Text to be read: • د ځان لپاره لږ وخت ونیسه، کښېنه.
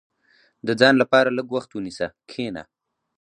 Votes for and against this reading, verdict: 2, 0, accepted